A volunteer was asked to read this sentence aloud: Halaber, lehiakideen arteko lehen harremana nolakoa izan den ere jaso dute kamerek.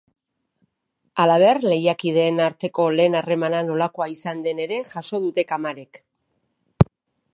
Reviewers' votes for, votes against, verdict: 1, 2, rejected